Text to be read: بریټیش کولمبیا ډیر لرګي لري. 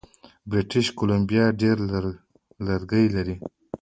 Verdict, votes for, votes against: rejected, 1, 2